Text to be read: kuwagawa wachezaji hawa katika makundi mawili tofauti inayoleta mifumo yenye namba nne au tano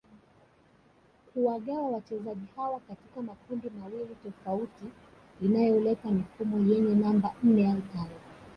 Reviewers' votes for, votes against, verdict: 1, 2, rejected